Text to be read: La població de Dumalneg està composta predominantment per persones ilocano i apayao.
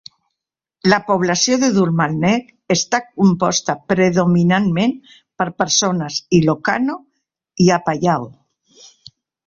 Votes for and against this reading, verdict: 3, 0, accepted